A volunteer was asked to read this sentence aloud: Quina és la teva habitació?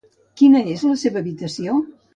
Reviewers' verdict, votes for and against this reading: rejected, 0, 2